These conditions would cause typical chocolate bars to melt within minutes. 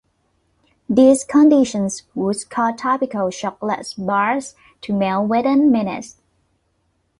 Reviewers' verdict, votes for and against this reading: accepted, 3, 2